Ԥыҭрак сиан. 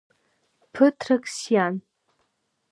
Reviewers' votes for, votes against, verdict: 2, 0, accepted